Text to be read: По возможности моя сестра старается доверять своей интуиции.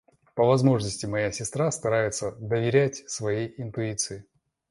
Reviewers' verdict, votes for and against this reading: accepted, 2, 0